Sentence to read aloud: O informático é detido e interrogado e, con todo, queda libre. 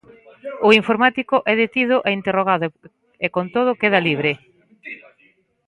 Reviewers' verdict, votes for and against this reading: rejected, 1, 2